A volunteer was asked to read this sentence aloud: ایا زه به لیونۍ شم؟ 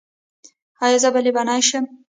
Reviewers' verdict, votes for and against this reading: rejected, 1, 2